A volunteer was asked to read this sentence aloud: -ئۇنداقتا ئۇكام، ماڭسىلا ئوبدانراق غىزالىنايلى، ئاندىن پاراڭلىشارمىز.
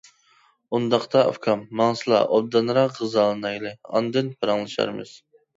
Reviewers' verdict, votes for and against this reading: accepted, 2, 0